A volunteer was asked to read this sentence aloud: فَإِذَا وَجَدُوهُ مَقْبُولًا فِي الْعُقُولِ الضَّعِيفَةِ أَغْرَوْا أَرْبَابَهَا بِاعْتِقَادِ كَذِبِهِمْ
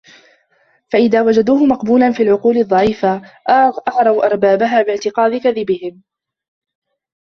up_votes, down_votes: 0, 2